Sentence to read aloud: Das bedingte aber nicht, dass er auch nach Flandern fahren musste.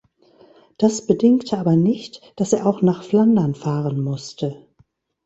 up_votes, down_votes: 2, 0